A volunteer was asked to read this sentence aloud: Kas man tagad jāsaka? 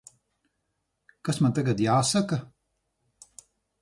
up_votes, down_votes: 4, 0